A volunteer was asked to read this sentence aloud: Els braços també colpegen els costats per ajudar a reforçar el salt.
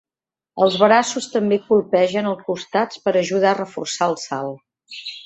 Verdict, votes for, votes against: rejected, 1, 2